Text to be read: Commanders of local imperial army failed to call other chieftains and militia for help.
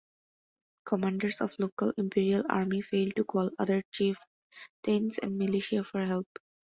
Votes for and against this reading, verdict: 2, 0, accepted